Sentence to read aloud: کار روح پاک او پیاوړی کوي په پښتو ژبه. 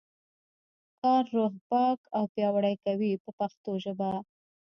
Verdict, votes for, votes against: rejected, 1, 2